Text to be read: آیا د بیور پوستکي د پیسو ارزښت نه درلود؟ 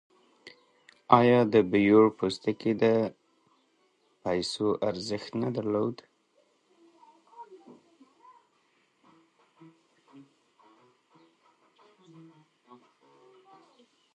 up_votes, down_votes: 0, 2